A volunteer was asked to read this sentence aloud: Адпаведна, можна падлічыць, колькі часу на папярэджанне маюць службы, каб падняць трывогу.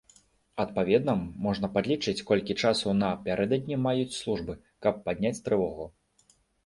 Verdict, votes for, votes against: rejected, 0, 2